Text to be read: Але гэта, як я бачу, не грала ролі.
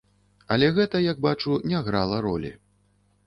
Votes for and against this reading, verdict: 0, 2, rejected